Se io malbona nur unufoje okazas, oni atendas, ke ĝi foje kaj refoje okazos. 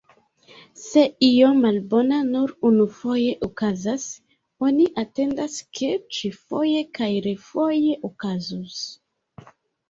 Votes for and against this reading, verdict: 1, 2, rejected